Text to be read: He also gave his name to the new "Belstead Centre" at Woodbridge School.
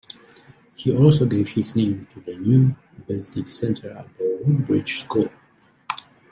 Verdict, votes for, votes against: accepted, 2, 0